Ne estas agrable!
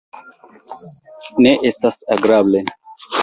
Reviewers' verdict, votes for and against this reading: accepted, 2, 0